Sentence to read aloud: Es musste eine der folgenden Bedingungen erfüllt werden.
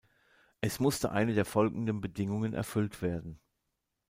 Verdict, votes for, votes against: accepted, 2, 0